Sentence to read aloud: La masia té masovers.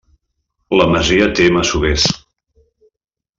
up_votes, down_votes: 1, 2